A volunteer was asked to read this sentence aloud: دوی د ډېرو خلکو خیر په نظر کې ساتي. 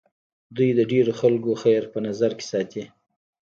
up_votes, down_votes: 1, 2